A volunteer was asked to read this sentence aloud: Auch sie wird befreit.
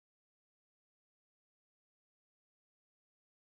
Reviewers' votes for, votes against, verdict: 0, 2, rejected